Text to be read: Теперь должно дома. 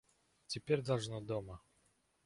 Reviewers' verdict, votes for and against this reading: accepted, 2, 0